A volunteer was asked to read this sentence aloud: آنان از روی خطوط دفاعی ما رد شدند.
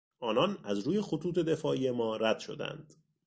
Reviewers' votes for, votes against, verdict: 2, 0, accepted